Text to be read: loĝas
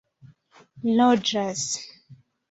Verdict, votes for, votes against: accepted, 2, 0